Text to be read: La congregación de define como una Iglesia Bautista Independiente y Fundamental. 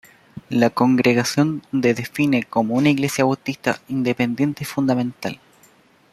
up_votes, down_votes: 1, 2